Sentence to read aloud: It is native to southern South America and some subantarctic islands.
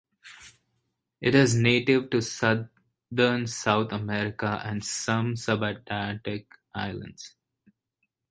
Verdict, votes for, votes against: rejected, 2, 2